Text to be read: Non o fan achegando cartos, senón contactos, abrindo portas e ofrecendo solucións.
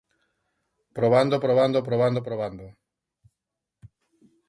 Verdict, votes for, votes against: rejected, 0, 2